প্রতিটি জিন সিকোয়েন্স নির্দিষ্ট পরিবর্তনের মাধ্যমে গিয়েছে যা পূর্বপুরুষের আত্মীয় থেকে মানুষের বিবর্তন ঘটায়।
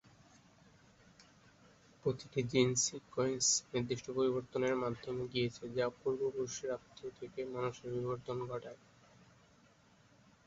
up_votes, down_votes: 0, 4